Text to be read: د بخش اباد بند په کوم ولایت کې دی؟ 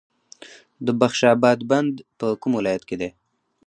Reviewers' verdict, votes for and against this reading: accepted, 2, 0